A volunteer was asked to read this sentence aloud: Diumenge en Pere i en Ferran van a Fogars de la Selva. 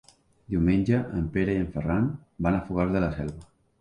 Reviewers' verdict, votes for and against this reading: accepted, 3, 0